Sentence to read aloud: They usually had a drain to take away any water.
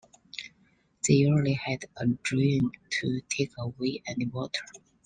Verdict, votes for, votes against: accepted, 2, 0